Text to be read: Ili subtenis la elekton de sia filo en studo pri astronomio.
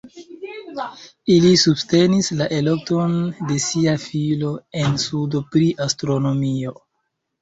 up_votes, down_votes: 2, 0